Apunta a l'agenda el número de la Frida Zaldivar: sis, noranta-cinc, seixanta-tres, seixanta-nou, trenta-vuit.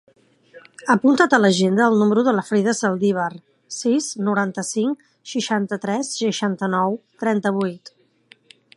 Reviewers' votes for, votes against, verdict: 0, 2, rejected